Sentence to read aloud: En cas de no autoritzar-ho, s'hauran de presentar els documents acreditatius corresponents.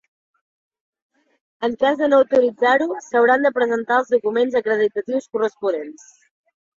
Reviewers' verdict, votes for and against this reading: accepted, 2, 0